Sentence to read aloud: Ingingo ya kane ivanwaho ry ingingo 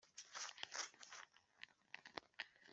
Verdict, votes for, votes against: rejected, 0, 2